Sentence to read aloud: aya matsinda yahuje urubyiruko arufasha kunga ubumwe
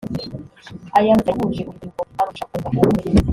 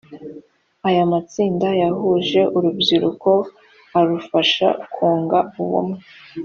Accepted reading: second